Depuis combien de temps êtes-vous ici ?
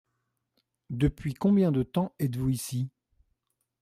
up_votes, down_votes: 2, 0